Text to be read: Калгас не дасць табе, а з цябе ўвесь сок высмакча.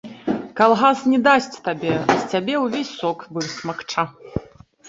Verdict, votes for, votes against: rejected, 1, 2